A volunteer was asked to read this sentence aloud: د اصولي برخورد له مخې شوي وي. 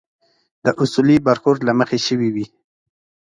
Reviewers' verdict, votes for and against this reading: accepted, 2, 0